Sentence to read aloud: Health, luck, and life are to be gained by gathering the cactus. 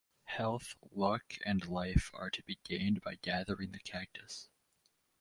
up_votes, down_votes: 4, 0